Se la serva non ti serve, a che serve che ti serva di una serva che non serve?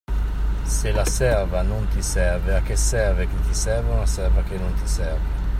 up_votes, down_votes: 0, 2